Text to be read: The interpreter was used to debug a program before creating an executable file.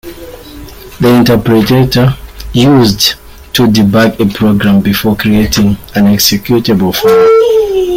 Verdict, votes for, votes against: rejected, 0, 2